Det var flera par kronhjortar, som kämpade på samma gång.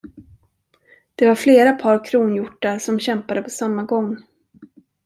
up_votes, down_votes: 2, 0